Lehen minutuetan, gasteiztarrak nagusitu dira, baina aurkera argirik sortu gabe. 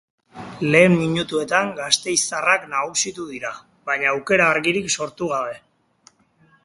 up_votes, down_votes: 2, 0